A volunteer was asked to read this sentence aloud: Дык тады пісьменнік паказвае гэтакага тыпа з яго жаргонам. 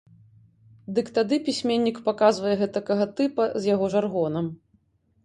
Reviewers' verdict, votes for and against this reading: accepted, 2, 0